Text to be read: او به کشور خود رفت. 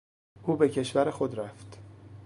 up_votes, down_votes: 2, 0